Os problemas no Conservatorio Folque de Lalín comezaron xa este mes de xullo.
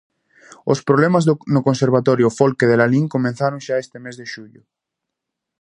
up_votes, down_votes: 0, 2